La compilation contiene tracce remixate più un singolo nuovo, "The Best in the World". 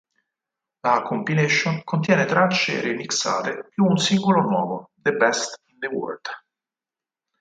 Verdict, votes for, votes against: accepted, 4, 2